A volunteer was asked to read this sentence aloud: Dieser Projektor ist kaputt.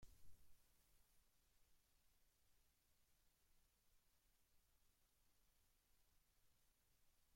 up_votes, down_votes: 0, 2